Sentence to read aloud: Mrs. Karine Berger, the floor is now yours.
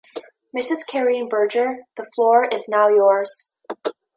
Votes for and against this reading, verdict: 0, 2, rejected